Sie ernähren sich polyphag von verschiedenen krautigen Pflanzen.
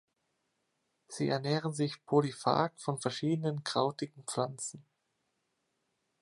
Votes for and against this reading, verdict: 2, 0, accepted